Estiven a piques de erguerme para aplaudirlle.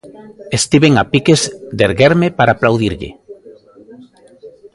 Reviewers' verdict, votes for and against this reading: accepted, 2, 0